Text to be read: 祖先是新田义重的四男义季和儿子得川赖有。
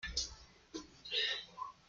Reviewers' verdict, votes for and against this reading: rejected, 0, 2